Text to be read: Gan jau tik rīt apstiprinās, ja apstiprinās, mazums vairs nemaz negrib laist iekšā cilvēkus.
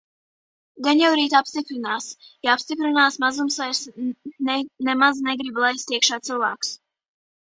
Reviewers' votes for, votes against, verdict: 0, 2, rejected